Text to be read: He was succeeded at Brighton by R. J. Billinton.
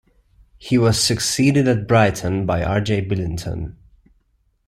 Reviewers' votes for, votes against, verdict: 2, 0, accepted